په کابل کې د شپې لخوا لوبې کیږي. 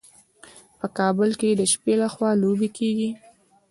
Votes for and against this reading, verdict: 0, 2, rejected